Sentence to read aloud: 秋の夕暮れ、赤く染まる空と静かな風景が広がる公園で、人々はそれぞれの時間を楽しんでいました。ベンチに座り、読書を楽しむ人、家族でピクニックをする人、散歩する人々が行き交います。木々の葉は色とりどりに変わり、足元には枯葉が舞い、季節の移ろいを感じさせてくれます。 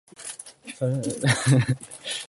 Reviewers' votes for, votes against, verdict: 0, 2, rejected